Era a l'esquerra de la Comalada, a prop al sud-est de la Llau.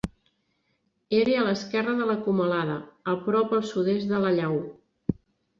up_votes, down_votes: 0, 2